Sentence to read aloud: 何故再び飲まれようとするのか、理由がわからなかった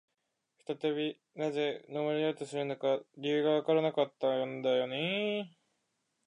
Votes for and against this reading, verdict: 0, 2, rejected